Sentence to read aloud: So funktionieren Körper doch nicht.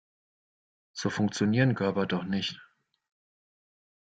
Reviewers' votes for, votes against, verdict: 2, 0, accepted